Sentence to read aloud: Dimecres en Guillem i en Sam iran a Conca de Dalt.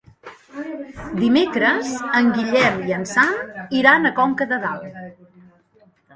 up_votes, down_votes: 1, 2